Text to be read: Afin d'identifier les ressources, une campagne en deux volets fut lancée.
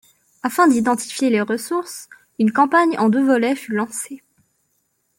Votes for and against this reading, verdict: 2, 0, accepted